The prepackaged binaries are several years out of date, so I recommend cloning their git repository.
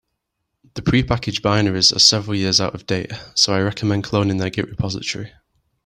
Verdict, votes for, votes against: accepted, 2, 1